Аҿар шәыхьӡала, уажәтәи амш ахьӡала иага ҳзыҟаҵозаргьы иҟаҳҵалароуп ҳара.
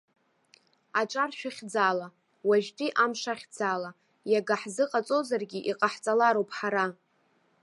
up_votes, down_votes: 1, 2